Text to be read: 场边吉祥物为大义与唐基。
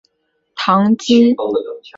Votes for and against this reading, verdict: 0, 3, rejected